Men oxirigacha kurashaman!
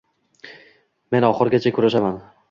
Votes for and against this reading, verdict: 0, 2, rejected